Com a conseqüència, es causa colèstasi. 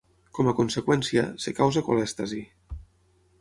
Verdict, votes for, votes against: rejected, 6, 9